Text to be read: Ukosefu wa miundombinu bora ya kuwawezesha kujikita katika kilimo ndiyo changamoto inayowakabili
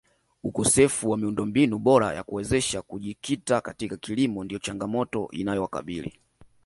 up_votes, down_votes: 2, 1